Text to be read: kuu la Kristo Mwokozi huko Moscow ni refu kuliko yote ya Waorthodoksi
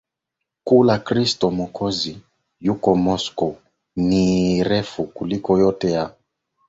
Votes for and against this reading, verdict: 1, 2, rejected